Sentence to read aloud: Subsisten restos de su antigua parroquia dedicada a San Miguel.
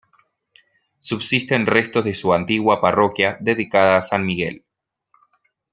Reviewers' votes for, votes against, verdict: 1, 2, rejected